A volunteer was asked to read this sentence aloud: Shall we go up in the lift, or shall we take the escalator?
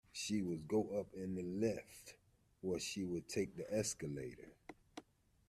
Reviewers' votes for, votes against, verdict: 1, 2, rejected